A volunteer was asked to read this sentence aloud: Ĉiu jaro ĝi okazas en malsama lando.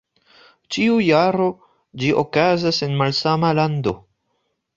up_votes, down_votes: 2, 0